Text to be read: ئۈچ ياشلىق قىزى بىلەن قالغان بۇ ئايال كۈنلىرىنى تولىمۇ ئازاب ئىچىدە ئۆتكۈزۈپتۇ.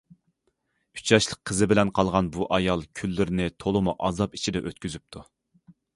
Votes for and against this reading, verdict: 2, 0, accepted